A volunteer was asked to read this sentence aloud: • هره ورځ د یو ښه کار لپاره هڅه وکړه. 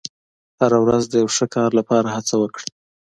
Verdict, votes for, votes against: accepted, 2, 0